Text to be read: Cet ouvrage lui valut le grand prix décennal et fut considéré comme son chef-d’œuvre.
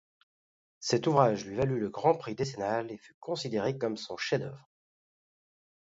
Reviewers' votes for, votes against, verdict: 2, 0, accepted